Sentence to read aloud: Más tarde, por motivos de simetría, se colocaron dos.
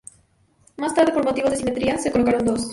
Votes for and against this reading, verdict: 2, 0, accepted